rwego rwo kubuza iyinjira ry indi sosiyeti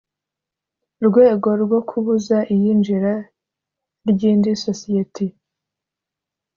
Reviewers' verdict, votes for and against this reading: accepted, 2, 0